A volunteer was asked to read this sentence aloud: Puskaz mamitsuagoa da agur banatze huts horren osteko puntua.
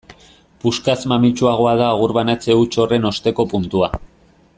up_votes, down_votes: 2, 0